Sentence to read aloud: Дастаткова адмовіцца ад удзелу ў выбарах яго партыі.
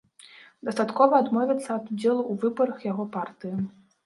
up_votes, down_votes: 2, 0